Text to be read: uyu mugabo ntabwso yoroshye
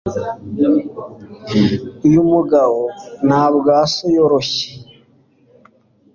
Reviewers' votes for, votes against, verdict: 3, 0, accepted